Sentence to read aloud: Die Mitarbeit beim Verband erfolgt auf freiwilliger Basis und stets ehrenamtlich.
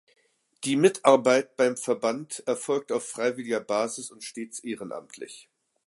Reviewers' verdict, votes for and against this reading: accepted, 2, 0